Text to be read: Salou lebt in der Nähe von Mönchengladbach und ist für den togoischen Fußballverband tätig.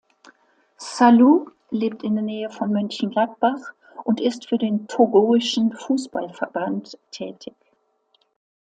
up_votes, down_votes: 2, 0